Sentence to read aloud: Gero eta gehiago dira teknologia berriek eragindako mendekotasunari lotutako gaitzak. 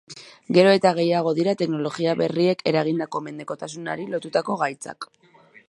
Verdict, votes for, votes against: accepted, 2, 0